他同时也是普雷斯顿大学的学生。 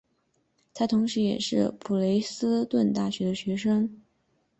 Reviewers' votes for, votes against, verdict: 6, 0, accepted